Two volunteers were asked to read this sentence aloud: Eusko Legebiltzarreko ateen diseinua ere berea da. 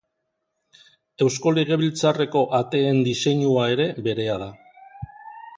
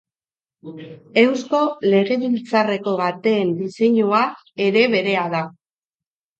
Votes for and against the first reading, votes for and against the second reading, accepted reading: 2, 0, 0, 2, first